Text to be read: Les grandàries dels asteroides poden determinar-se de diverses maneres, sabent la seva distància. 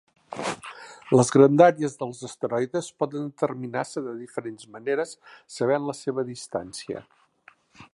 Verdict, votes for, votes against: rejected, 0, 2